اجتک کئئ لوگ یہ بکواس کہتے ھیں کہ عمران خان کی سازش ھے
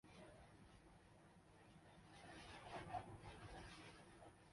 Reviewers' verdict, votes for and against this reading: rejected, 0, 3